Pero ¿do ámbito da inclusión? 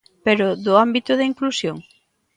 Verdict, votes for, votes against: accepted, 2, 0